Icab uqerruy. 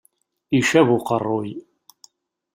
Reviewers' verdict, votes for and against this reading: accepted, 2, 0